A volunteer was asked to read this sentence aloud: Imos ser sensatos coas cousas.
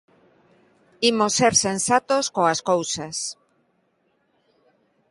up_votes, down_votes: 2, 0